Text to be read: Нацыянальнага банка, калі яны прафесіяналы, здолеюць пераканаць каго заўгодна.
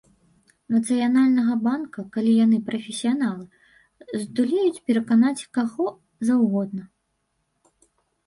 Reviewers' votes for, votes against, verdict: 1, 2, rejected